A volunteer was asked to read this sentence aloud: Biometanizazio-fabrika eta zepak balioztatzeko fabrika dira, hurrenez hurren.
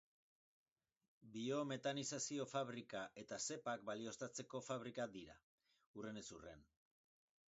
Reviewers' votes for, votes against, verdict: 0, 2, rejected